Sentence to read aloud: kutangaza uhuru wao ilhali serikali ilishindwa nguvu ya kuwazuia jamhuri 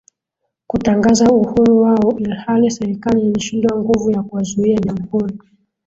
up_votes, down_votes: 2, 0